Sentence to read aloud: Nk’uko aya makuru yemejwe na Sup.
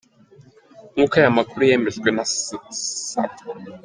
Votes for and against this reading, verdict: 0, 2, rejected